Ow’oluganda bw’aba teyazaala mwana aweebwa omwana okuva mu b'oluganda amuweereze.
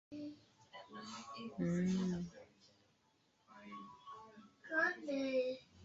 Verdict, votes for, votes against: rejected, 0, 2